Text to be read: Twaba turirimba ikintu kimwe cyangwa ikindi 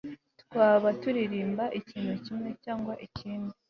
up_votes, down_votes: 4, 0